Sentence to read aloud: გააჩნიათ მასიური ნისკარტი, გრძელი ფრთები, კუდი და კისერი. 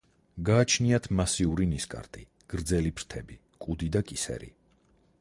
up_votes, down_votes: 4, 0